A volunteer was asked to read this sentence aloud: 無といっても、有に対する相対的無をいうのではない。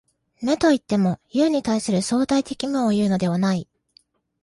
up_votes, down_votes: 2, 0